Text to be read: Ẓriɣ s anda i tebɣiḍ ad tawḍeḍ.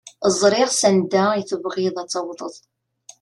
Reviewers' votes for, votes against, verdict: 2, 0, accepted